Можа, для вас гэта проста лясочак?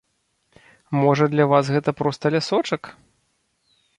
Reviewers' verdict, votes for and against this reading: accepted, 2, 0